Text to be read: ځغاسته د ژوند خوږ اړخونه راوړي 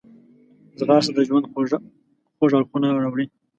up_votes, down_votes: 0, 2